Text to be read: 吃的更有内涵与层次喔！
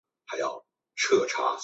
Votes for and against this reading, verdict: 0, 5, rejected